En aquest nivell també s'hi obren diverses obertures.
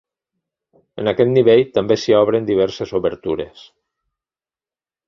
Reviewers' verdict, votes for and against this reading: accepted, 3, 0